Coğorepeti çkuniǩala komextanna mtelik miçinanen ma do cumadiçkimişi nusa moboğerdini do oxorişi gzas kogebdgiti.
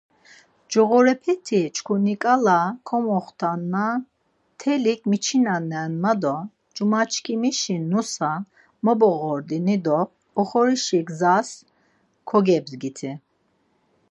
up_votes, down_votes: 4, 0